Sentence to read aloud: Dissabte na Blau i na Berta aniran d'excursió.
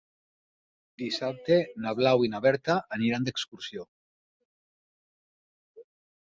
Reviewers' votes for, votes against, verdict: 4, 0, accepted